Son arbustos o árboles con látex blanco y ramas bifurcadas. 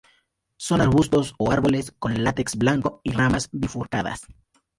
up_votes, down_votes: 4, 0